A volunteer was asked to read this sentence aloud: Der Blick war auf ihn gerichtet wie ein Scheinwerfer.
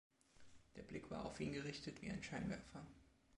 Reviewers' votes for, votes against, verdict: 2, 0, accepted